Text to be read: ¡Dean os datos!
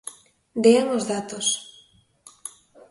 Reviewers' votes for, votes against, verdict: 2, 0, accepted